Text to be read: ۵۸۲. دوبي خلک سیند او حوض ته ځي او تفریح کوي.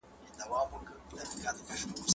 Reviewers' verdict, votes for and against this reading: rejected, 0, 2